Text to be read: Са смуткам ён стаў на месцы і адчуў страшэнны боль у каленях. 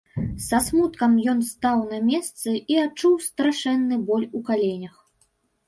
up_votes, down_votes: 2, 0